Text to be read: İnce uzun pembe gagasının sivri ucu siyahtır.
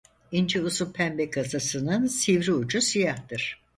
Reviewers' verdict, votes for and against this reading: rejected, 2, 4